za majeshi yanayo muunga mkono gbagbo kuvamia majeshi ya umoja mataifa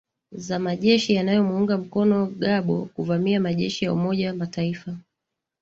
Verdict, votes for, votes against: accepted, 2, 0